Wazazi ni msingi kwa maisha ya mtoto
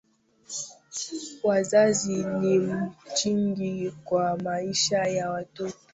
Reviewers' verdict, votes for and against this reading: rejected, 0, 2